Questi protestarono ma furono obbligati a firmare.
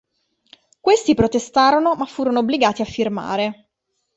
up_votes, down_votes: 2, 0